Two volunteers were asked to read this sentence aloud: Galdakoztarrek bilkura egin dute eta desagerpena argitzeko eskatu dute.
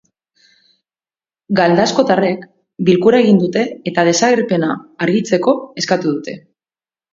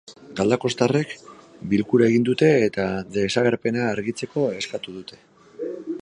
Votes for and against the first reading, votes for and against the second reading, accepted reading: 0, 2, 2, 1, second